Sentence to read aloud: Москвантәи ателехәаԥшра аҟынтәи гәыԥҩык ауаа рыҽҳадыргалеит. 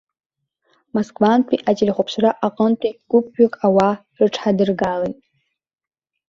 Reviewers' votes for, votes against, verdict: 1, 2, rejected